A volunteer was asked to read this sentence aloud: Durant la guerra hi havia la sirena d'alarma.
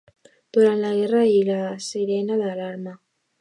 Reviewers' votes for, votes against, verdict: 0, 2, rejected